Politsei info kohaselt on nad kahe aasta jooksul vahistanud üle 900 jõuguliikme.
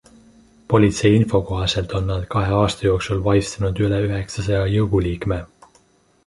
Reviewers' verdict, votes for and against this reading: rejected, 0, 2